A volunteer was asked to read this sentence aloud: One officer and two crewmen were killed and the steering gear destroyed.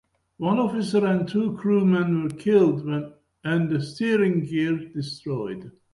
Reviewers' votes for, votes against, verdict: 0, 2, rejected